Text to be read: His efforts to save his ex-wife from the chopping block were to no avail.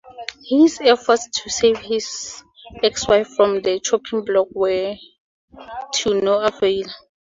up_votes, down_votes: 2, 0